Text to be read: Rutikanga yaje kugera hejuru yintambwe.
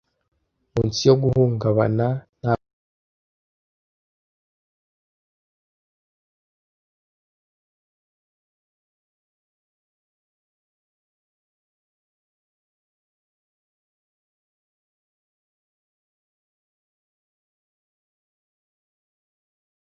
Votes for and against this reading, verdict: 0, 2, rejected